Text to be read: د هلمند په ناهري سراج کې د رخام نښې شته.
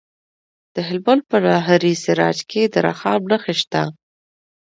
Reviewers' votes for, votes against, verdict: 2, 0, accepted